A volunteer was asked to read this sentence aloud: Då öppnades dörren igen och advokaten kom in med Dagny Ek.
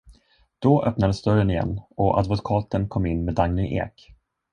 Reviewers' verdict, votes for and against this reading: rejected, 1, 2